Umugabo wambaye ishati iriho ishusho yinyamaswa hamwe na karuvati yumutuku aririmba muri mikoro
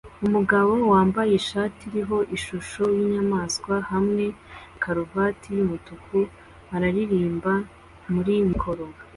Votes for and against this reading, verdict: 2, 0, accepted